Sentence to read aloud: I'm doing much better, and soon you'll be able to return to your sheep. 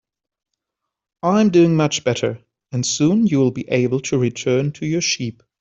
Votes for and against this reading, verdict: 4, 0, accepted